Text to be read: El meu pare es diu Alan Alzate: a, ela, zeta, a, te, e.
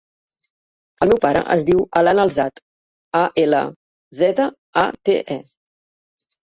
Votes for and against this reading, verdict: 1, 2, rejected